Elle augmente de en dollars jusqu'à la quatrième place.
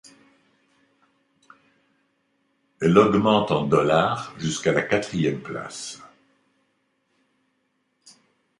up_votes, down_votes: 0, 2